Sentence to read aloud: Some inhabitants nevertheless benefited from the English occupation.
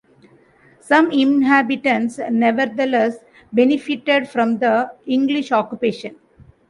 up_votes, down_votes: 2, 0